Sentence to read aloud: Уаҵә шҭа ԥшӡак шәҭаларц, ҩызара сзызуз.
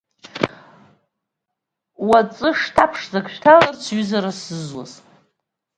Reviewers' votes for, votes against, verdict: 2, 0, accepted